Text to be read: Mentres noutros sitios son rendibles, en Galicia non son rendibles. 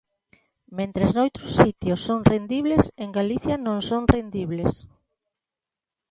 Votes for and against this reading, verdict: 2, 1, accepted